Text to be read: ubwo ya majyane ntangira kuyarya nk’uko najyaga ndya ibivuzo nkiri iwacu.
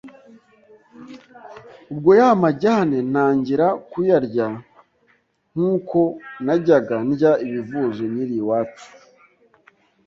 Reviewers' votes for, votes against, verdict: 2, 0, accepted